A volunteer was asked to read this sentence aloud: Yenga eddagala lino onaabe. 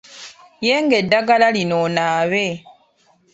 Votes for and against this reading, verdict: 2, 1, accepted